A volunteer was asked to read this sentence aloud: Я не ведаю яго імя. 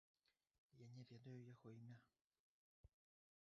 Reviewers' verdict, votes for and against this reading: rejected, 0, 2